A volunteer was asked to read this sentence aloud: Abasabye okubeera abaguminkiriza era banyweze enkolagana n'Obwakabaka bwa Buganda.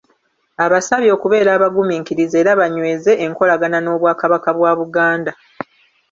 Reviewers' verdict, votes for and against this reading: accepted, 2, 0